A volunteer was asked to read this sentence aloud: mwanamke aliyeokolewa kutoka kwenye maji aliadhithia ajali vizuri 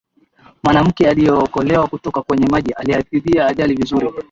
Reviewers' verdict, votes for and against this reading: rejected, 1, 2